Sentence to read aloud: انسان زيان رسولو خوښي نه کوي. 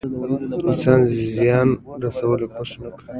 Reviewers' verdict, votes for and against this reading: rejected, 1, 2